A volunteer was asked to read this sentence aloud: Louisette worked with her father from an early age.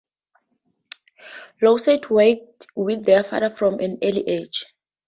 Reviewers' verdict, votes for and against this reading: rejected, 0, 2